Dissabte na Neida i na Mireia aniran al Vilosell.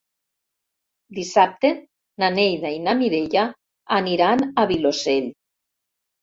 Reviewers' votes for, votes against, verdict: 1, 2, rejected